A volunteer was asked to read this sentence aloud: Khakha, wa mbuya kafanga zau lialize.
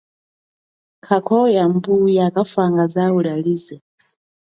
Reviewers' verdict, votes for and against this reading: accepted, 2, 0